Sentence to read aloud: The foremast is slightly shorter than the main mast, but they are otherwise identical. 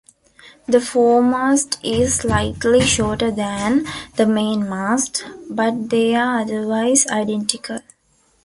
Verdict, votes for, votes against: accepted, 2, 1